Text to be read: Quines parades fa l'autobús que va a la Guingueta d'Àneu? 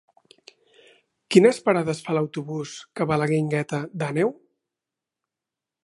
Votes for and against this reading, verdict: 2, 0, accepted